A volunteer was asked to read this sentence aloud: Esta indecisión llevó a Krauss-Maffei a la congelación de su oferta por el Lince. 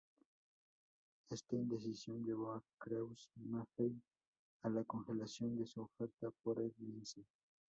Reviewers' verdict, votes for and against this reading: rejected, 2, 4